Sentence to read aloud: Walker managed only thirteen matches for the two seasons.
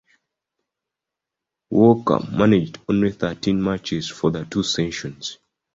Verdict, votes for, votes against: accepted, 3, 2